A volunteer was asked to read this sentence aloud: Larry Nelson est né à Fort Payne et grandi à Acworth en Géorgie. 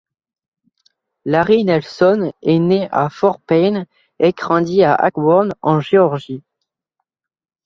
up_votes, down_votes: 1, 2